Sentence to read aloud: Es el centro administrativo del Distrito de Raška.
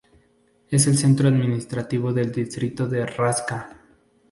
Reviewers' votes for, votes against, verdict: 2, 0, accepted